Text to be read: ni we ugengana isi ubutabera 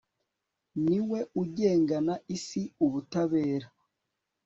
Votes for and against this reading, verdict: 3, 0, accepted